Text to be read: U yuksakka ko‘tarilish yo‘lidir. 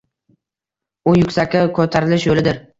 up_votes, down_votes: 0, 2